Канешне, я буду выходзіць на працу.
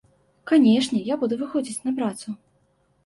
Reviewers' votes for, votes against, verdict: 2, 0, accepted